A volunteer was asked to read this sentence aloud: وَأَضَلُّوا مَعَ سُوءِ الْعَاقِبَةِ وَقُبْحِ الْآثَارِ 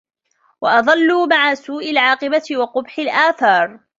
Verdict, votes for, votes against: rejected, 0, 2